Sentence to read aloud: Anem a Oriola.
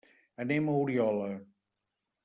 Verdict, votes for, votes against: accepted, 3, 0